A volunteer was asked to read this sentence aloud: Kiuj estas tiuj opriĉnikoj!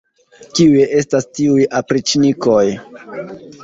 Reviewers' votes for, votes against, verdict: 0, 2, rejected